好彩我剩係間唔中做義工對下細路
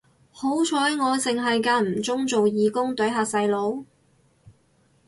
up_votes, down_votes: 2, 2